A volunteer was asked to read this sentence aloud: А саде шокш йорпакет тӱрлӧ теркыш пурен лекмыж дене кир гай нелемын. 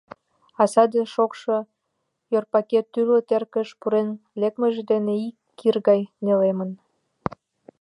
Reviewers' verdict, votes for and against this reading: rejected, 1, 2